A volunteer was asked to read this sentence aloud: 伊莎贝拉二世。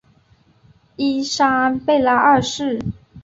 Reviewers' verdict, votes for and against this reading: accepted, 4, 1